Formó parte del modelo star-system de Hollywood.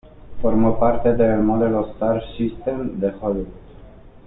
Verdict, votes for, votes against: accepted, 2, 0